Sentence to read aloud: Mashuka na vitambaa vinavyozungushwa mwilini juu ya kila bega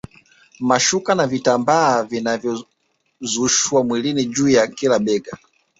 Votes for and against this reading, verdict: 0, 2, rejected